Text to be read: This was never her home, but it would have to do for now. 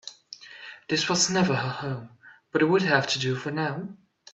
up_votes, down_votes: 2, 0